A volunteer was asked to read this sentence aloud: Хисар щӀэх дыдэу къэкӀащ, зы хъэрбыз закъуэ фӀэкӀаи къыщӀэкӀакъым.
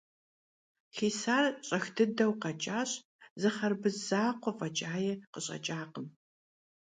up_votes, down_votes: 2, 0